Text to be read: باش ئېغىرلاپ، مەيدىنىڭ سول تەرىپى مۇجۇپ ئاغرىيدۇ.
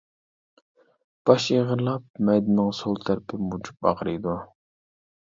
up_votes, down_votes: 2, 1